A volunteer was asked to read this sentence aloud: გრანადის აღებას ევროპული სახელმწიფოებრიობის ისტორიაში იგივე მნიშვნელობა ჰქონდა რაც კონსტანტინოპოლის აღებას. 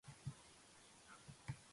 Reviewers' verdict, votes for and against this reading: rejected, 0, 2